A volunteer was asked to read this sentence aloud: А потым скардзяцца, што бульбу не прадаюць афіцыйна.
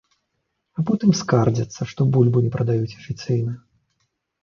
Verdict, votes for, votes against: accepted, 2, 0